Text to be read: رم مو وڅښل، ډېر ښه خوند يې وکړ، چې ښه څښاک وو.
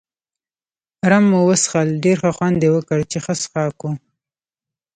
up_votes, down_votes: 1, 2